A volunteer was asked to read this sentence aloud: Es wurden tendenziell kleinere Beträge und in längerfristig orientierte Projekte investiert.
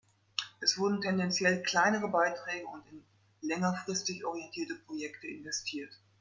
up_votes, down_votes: 1, 2